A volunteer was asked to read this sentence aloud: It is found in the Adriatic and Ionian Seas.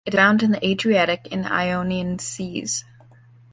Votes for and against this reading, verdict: 0, 2, rejected